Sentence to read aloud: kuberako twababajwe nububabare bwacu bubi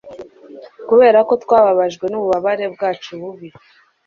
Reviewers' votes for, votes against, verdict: 2, 0, accepted